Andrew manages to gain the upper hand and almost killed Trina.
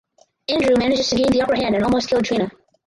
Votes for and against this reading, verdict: 0, 4, rejected